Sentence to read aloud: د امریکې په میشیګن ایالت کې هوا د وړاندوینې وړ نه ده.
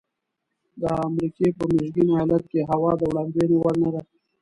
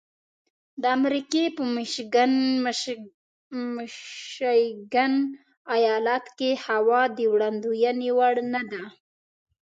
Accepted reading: first